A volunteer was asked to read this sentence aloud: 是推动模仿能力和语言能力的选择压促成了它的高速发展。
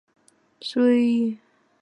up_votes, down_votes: 1, 2